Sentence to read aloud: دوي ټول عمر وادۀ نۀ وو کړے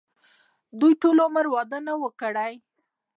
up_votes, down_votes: 1, 2